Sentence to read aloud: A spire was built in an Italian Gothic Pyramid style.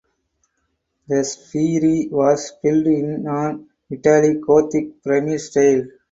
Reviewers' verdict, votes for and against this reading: rejected, 2, 4